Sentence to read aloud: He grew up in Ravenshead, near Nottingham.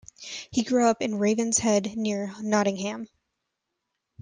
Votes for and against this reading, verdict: 2, 0, accepted